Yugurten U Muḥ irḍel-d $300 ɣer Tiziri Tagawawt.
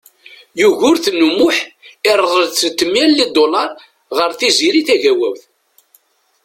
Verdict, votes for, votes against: rejected, 0, 2